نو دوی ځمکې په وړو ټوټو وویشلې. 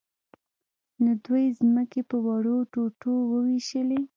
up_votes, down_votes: 1, 2